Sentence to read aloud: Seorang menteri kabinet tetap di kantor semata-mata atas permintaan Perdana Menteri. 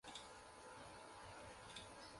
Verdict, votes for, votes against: rejected, 0, 2